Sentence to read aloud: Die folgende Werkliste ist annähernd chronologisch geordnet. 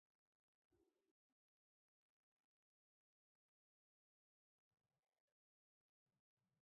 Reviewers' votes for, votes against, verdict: 0, 2, rejected